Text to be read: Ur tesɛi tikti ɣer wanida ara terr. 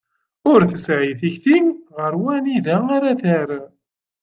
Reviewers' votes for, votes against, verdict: 2, 0, accepted